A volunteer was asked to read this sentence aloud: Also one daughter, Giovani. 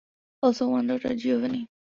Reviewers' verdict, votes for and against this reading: accepted, 2, 0